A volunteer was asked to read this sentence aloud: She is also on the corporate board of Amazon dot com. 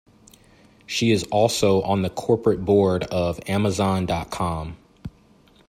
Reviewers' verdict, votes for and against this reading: accepted, 2, 0